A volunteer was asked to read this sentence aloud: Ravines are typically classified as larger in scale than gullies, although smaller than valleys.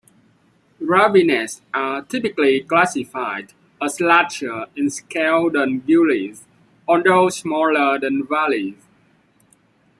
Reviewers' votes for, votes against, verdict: 2, 1, accepted